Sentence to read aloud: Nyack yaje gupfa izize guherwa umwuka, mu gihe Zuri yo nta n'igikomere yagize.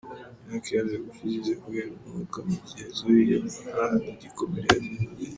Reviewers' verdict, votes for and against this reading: rejected, 1, 2